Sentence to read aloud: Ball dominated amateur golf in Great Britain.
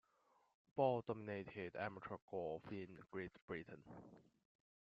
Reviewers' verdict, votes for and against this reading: rejected, 0, 2